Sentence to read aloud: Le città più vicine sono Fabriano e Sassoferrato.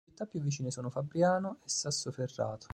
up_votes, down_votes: 1, 2